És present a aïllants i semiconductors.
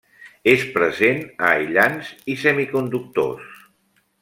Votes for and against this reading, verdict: 0, 2, rejected